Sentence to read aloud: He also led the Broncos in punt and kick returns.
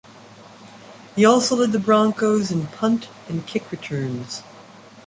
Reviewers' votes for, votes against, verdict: 2, 0, accepted